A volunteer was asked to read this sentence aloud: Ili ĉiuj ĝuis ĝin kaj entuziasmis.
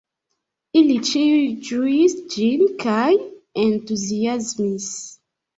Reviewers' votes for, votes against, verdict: 0, 2, rejected